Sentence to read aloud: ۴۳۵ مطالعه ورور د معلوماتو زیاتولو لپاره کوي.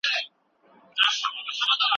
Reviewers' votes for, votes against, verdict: 0, 2, rejected